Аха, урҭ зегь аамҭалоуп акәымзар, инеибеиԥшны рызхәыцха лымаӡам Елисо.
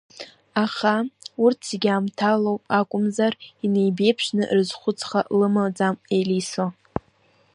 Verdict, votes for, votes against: rejected, 0, 2